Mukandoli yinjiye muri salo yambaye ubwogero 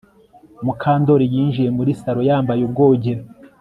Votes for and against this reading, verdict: 2, 0, accepted